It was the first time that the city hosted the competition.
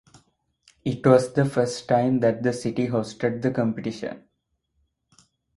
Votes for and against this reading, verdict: 4, 0, accepted